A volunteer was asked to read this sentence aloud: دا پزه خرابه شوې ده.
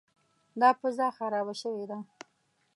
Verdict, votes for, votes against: accepted, 2, 0